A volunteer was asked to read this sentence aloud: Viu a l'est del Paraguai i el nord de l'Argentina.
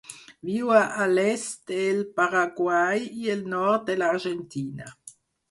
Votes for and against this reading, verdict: 4, 0, accepted